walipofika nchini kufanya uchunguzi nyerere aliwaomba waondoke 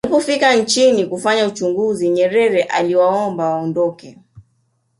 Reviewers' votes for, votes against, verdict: 2, 0, accepted